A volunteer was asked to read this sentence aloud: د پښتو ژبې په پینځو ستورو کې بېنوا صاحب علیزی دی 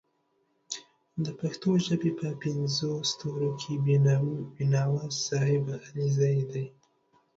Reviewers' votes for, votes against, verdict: 1, 2, rejected